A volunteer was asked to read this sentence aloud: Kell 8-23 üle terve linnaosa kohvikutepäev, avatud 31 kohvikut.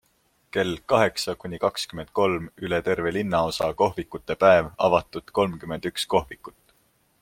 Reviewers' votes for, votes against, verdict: 0, 2, rejected